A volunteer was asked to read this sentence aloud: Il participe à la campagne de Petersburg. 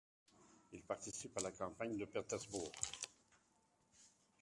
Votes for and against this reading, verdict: 0, 2, rejected